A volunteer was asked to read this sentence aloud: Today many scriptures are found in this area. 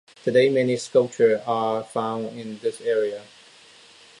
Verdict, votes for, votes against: rejected, 0, 2